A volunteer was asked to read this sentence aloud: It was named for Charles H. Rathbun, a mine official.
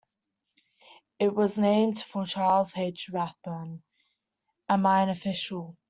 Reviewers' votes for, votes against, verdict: 2, 0, accepted